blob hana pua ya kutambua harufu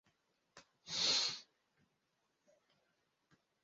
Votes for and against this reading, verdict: 0, 2, rejected